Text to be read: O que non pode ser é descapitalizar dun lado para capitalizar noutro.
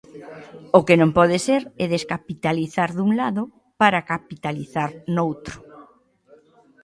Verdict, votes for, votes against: accepted, 2, 0